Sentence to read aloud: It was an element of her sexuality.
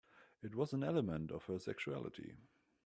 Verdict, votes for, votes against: accepted, 3, 0